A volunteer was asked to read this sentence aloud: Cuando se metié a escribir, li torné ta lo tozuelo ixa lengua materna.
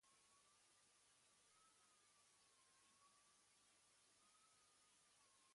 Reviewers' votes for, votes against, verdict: 1, 2, rejected